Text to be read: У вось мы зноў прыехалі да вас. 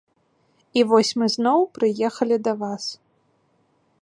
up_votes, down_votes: 2, 0